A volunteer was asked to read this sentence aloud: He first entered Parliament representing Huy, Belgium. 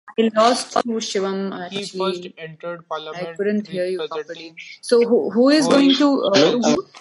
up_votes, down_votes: 0, 2